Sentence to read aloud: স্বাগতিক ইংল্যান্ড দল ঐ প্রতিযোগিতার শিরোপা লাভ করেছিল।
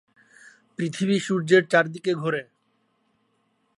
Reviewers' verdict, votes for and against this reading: rejected, 0, 2